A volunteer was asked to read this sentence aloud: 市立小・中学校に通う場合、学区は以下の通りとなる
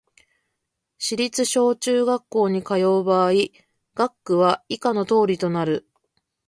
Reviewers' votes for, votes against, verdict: 2, 0, accepted